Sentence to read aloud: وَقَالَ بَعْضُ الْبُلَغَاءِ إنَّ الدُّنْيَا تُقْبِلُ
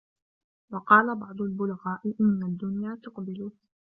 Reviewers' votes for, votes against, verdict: 0, 2, rejected